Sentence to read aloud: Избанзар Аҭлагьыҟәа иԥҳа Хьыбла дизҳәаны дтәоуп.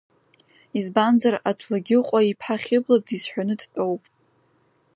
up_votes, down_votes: 2, 1